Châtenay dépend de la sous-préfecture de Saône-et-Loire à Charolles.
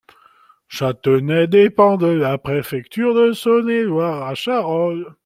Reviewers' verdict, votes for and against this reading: rejected, 0, 2